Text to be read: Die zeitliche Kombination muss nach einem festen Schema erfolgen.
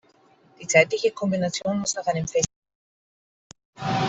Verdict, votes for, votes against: rejected, 0, 2